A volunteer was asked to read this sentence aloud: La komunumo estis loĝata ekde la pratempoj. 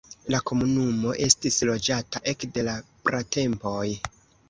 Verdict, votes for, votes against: accepted, 2, 0